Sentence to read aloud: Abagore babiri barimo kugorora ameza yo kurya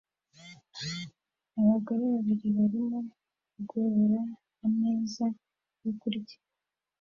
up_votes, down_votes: 1, 2